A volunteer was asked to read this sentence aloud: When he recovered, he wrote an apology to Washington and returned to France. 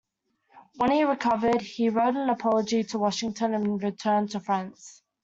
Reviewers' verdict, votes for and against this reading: accepted, 2, 0